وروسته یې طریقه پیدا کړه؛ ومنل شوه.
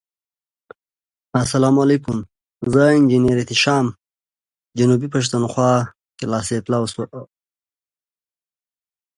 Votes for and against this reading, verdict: 1, 2, rejected